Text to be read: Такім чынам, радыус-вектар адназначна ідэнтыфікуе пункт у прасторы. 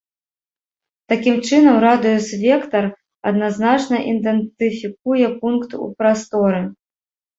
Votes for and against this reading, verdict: 0, 2, rejected